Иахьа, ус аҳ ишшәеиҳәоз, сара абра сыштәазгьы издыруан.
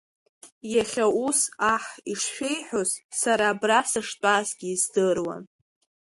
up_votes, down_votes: 2, 0